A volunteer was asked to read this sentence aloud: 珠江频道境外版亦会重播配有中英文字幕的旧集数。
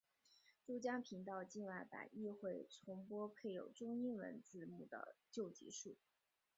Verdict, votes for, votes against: rejected, 2, 4